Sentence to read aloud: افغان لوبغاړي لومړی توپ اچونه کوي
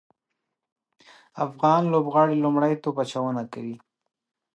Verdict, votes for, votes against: accepted, 3, 0